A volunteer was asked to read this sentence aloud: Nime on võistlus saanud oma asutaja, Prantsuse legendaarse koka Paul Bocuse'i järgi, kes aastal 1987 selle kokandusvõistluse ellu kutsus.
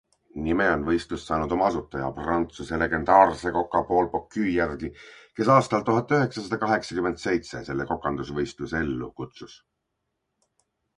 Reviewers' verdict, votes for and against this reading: rejected, 0, 2